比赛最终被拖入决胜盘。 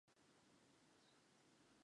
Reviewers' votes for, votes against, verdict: 0, 5, rejected